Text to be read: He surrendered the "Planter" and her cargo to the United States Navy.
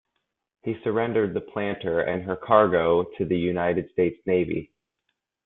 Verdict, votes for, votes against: accepted, 2, 0